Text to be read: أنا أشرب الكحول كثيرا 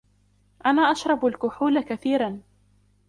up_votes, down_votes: 1, 2